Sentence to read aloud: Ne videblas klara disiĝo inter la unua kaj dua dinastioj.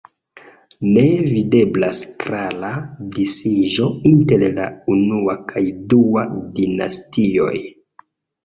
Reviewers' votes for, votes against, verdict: 2, 0, accepted